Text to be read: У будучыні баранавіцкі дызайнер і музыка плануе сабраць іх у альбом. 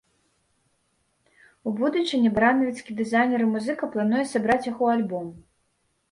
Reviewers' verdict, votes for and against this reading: accepted, 2, 1